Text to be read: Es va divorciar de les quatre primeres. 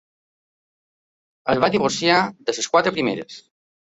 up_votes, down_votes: 2, 0